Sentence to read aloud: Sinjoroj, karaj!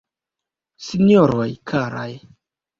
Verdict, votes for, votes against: rejected, 1, 2